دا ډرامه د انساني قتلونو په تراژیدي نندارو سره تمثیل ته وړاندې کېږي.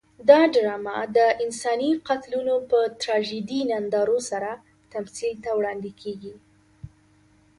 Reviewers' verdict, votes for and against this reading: accepted, 2, 0